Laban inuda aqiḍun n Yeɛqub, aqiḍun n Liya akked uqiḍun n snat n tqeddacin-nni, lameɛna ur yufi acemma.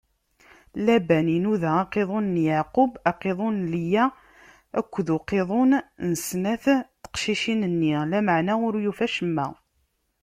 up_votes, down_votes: 1, 2